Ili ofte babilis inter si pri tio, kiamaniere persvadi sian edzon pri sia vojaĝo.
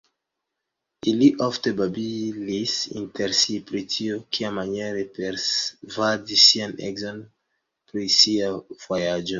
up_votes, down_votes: 1, 2